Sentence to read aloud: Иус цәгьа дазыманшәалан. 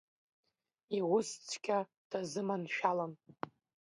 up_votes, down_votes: 0, 2